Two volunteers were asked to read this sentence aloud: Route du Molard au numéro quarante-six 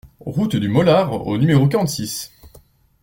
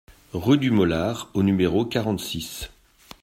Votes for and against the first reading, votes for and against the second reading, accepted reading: 2, 0, 1, 2, first